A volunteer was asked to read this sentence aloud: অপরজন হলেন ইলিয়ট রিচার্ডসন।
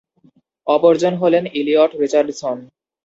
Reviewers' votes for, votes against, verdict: 2, 0, accepted